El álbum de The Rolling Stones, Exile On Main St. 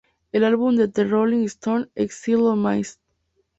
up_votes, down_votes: 2, 0